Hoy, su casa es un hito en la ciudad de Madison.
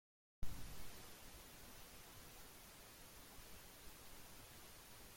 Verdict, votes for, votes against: rejected, 0, 2